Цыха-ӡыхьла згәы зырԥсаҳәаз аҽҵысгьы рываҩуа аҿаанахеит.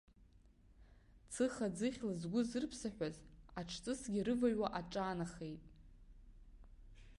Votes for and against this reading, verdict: 2, 0, accepted